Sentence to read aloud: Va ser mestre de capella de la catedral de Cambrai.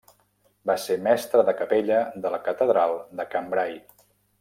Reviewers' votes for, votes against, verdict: 0, 2, rejected